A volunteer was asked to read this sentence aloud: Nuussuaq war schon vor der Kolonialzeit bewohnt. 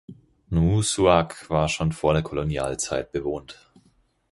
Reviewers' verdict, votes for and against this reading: accepted, 4, 0